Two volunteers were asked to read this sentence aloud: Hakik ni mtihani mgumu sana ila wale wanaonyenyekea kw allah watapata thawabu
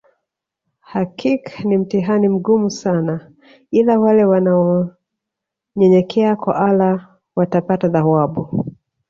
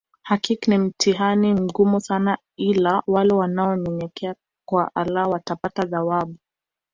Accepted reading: first